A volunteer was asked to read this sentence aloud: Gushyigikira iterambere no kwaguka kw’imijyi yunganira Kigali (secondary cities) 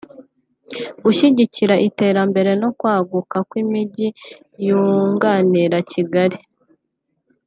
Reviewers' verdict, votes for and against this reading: rejected, 0, 5